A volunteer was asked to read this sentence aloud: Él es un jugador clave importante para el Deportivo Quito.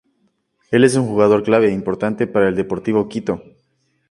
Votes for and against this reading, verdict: 2, 0, accepted